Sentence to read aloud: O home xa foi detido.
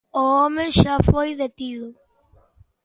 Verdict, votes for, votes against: accepted, 2, 0